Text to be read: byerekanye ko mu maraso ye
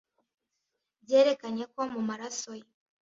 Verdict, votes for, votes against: accepted, 2, 0